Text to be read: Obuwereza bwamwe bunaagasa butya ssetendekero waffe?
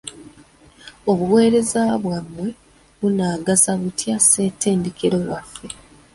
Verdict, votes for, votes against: accepted, 2, 0